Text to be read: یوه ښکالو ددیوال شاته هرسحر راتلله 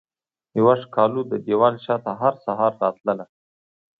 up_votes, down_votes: 2, 1